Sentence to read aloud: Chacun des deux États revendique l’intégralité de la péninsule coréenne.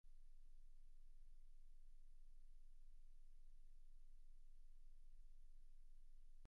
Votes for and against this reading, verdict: 0, 2, rejected